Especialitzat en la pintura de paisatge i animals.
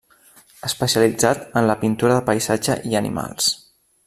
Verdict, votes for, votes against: accepted, 3, 0